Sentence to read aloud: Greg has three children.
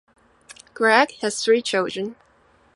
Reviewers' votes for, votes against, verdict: 2, 0, accepted